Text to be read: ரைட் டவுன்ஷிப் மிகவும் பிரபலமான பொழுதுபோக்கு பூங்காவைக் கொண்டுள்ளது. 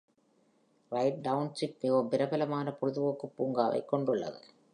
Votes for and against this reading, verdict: 2, 0, accepted